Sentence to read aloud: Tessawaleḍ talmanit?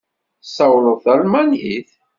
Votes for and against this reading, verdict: 1, 2, rejected